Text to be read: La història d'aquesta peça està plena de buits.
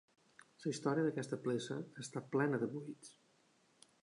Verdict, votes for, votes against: rejected, 0, 2